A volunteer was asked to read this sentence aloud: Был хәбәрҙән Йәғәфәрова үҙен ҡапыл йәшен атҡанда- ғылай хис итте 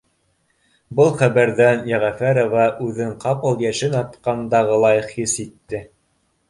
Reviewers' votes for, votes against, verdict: 2, 0, accepted